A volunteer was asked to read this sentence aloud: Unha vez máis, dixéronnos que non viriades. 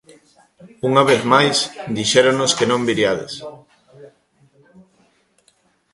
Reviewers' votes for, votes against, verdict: 2, 1, accepted